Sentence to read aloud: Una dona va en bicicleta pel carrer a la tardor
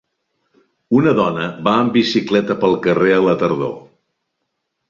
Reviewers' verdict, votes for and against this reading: accepted, 2, 0